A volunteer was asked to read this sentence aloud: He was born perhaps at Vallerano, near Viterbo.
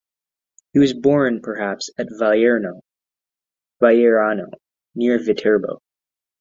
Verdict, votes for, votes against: rejected, 0, 2